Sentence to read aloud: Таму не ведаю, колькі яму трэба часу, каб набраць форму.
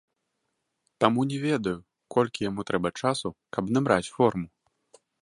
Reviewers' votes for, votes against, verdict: 2, 0, accepted